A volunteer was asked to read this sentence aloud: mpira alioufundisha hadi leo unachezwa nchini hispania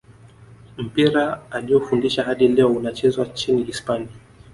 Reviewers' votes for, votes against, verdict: 2, 0, accepted